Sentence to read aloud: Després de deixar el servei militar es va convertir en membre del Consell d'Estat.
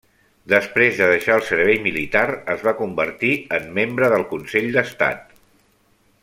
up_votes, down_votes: 1, 2